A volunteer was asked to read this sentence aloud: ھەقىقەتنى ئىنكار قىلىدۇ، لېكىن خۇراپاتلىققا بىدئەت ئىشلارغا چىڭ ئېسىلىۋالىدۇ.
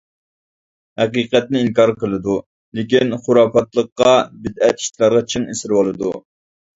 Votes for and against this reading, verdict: 2, 0, accepted